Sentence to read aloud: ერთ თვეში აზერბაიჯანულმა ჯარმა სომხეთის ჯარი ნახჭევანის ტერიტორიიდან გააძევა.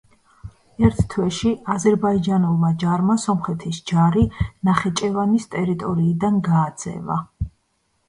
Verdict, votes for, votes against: rejected, 1, 2